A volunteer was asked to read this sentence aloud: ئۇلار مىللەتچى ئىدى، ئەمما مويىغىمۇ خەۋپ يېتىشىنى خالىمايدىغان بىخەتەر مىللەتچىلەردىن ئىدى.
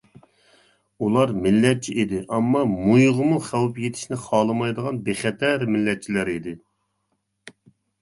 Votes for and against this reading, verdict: 0, 2, rejected